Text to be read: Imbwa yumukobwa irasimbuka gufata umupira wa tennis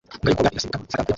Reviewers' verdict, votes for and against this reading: rejected, 0, 2